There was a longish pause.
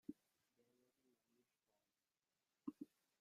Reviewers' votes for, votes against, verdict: 0, 2, rejected